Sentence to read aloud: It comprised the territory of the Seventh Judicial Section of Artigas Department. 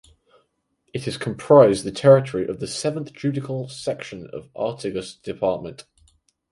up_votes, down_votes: 2, 4